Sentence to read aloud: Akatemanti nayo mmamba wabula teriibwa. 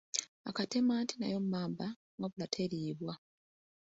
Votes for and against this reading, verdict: 0, 2, rejected